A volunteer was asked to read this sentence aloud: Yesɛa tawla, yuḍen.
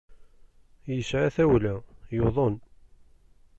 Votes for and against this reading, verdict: 2, 1, accepted